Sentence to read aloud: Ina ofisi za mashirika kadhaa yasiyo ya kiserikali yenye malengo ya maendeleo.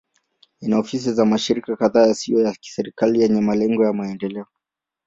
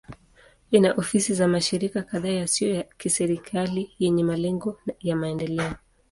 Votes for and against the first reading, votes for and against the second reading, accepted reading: 7, 2, 1, 2, first